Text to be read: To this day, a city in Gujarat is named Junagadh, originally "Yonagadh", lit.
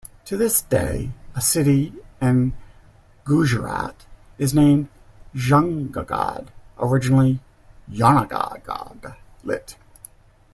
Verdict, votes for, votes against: rejected, 0, 2